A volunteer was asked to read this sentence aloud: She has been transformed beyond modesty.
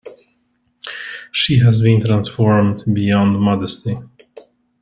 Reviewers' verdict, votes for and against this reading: accepted, 2, 0